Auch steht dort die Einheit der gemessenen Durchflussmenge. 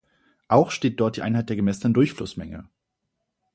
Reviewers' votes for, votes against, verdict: 2, 0, accepted